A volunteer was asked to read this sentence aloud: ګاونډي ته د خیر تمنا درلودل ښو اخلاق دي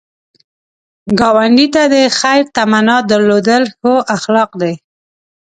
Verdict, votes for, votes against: accepted, 2, 0